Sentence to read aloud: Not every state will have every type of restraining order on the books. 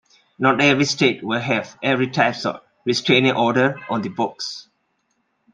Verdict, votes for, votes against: accepted, 2, 0